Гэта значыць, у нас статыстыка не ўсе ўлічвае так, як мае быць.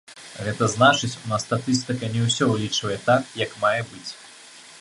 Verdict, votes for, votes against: rejected, 1, 2